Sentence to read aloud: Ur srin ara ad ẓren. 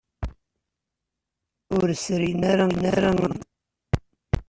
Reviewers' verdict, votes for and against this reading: rejected, 0, 2